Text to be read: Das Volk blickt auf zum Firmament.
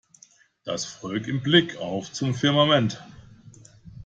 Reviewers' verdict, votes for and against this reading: rejected, 0, 2